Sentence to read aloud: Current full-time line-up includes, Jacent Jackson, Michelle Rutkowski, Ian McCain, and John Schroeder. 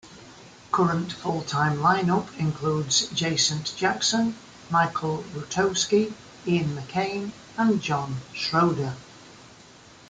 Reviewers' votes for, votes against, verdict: 0, 2, rejected